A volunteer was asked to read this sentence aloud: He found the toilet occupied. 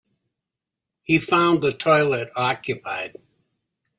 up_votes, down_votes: 2, 0